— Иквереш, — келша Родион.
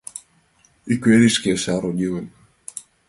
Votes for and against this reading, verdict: 2, 0, accepted